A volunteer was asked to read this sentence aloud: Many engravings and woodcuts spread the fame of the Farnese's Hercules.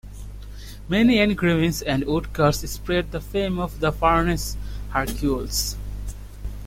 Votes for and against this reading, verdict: 0, 2, rejected